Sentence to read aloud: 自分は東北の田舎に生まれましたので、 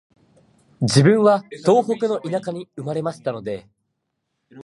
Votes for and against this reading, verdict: 1, 2, rejected